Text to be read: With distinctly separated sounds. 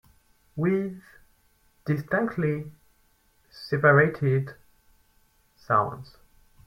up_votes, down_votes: 2, 4